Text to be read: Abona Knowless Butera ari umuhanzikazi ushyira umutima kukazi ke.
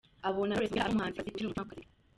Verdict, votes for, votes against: rejected, 0, 2